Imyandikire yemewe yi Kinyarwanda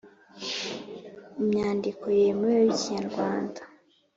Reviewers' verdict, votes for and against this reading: rejected, 1, 2